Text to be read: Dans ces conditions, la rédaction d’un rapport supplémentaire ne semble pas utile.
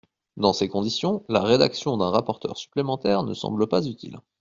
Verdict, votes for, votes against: rejected, 0, 2